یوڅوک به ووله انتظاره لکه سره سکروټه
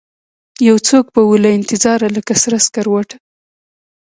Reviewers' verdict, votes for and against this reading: rejected, 1, 2